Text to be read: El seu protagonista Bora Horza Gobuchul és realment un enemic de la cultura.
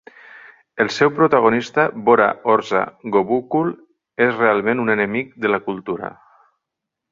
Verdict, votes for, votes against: accepted, 2, 1